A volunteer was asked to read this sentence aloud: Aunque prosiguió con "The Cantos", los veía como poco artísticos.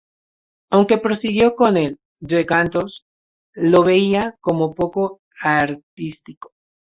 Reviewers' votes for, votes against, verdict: 0, 2, rejected